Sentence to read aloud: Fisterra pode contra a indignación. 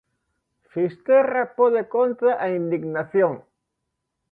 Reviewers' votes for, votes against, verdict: 2, 0, accepted